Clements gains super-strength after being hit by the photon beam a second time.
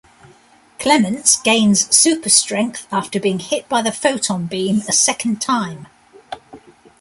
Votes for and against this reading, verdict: 2, 0, accepted